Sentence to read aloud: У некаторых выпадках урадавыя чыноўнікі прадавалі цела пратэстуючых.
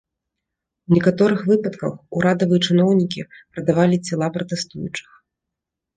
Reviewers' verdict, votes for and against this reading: rejected, 0, 2